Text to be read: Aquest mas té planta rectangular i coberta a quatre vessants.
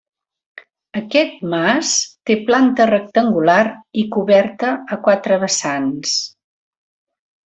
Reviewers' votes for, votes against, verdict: 3, 0, accepted